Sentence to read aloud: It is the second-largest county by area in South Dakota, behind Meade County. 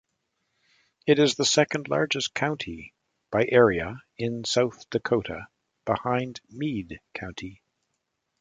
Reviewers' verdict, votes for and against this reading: accepted, 2, 0